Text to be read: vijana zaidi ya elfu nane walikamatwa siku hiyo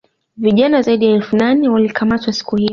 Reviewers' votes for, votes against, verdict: 2, 1, accepted